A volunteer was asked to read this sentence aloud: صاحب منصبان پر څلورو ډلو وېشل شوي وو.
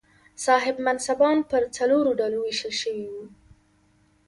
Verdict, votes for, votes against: accepted, 2, 1